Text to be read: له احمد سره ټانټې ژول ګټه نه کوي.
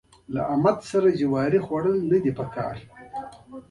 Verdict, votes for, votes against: rejected, 1, 2